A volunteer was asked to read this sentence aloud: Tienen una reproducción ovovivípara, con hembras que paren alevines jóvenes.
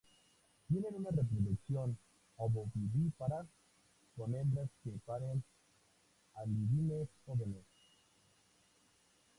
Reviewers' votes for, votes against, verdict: 0, 2, rejected